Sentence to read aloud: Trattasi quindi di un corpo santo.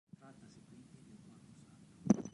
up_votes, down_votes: 1, 2